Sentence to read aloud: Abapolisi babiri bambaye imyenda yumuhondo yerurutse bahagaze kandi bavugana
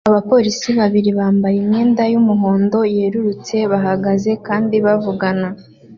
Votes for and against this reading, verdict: 2, 0, accepted